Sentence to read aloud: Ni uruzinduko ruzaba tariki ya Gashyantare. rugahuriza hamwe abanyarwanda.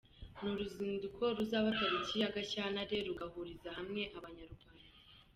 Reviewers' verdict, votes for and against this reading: rejected, 0, 2